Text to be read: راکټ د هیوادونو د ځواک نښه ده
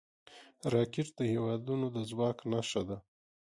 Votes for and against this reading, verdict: 2, 0, accepted